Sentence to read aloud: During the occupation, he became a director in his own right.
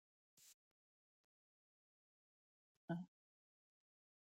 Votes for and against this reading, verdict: 0, 2, rejected